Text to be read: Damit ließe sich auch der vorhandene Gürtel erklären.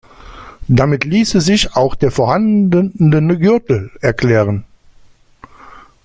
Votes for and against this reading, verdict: 0, 2, rejected